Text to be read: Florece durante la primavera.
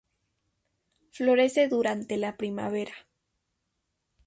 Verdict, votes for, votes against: accepted, 2, 0